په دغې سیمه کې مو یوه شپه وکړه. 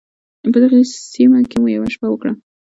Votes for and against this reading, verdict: 2, 0, accepted